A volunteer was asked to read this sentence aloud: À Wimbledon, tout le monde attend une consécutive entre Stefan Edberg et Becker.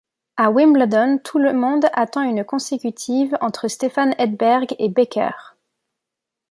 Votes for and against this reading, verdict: 2, 1, accepted